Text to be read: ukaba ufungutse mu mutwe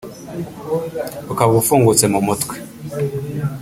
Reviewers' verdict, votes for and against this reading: rejected, 1, 2